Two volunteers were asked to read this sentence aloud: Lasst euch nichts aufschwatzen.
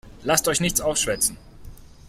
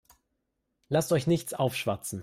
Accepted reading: second